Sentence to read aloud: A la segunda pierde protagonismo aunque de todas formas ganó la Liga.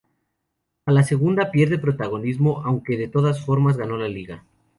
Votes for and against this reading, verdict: 2, 0, accepted